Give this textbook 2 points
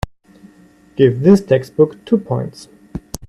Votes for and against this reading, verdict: 0, 2, rejected